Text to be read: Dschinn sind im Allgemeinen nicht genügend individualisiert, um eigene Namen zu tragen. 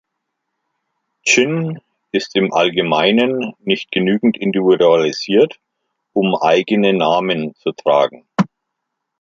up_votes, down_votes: 0, 2